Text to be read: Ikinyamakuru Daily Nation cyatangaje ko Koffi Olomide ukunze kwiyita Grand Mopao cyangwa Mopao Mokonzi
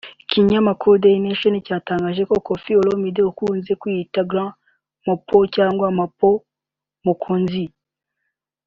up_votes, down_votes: 0, 2